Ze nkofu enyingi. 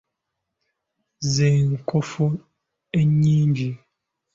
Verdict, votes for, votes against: accepted, 2, 0